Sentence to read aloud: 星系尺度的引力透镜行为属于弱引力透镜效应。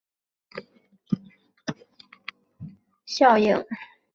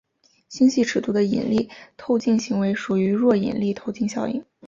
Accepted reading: second